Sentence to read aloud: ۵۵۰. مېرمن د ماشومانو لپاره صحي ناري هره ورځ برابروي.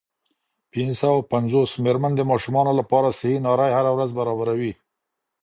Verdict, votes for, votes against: rejected, 0, 2